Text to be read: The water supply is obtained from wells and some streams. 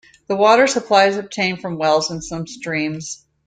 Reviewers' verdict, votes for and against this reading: accepted, 2, 0